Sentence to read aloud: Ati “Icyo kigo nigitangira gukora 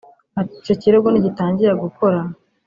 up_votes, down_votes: 0, 2